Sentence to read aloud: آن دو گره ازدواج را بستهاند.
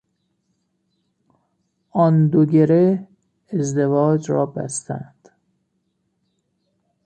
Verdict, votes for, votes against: rejected, 1, 2